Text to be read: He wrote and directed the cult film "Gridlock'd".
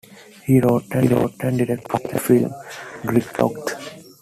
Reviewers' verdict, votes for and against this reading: accepted, 2, 0